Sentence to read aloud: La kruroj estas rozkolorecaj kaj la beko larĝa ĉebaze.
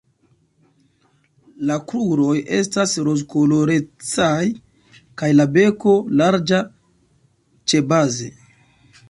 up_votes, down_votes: 0, 2